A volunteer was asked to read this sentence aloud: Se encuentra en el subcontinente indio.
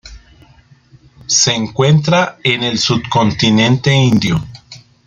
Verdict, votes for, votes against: accepted, 2, 0